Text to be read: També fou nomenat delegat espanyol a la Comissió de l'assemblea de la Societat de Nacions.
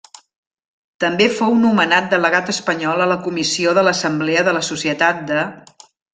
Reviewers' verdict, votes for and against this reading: rejected, 0, 2